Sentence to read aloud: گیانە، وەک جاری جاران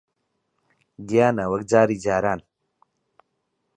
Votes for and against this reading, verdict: 6, 3, accepted